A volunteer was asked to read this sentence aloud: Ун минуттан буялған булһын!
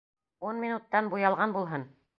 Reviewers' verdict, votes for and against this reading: accepted, 2, 0